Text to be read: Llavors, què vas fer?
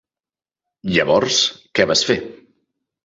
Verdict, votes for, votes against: accepted, 4, 0